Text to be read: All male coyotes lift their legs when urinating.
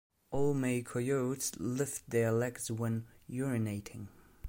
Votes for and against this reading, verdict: 0, 2, rejected